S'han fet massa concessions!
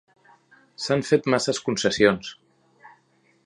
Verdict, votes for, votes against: rejected, 1, 2